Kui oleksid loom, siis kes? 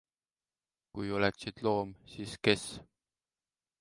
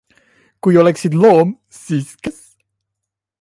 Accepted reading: first